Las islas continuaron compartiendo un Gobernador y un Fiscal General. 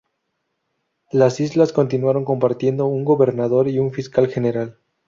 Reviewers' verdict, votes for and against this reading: accepted, 2, 0